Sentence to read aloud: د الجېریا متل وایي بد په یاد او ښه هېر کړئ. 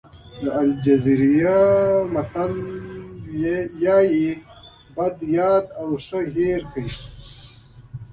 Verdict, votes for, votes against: rejected, 1, 2